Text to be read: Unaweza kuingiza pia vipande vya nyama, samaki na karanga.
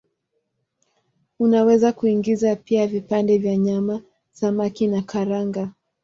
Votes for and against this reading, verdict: 2, 0, accepted